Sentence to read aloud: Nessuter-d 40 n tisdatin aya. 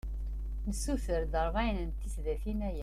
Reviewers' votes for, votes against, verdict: 0, 2, rejected